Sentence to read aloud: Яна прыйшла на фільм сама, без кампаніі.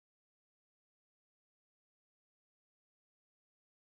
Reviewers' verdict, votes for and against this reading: rejected, 0, 2